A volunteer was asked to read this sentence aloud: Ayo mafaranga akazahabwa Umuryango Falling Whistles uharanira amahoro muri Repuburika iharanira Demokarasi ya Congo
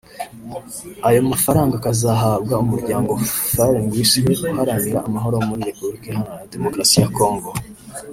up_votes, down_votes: 0, 2